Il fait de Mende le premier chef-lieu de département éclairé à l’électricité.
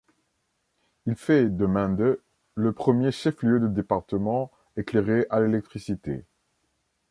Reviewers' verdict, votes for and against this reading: rejected, 1, 2